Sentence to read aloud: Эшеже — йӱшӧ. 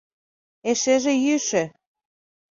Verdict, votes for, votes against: accepted, 2, 0